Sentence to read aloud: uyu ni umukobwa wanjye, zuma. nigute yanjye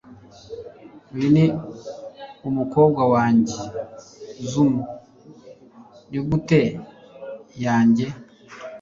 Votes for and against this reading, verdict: 2, 0, accepted